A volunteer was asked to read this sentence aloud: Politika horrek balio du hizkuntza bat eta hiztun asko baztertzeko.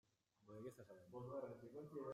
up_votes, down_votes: 0, 2